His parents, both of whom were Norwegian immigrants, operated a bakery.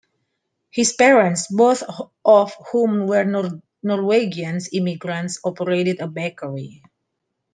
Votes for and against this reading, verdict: 1, 2, rejected